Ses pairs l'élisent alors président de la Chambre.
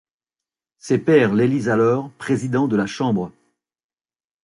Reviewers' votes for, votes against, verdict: 2, 0, accepted